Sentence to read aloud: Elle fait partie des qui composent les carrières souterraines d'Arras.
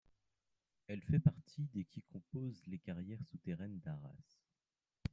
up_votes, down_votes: 2, 1